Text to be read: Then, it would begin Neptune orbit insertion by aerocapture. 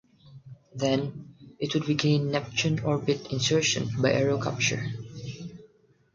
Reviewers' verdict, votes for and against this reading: accepted, 6, 0